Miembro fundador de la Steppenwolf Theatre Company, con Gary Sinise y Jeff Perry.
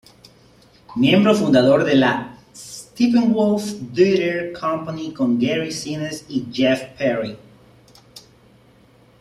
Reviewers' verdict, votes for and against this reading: accepted, 2, 1